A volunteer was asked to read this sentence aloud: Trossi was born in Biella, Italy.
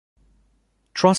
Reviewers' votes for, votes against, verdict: 0, 2, rejected